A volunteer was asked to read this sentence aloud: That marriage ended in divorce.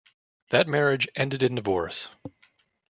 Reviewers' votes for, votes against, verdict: 2, 1, accepted